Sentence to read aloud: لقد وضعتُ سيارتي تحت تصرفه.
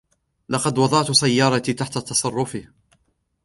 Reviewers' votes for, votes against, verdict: 2, 0, accepted